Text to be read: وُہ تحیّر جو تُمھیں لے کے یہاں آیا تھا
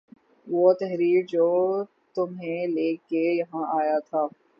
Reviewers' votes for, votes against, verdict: 0, 3, rejected